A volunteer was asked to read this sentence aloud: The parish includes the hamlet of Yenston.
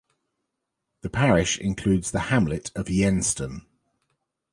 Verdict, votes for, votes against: accepted, 2, 0